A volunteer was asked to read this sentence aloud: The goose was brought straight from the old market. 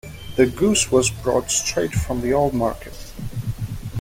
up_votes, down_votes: 2, 0